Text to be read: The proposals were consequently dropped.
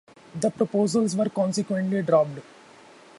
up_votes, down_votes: 2, 0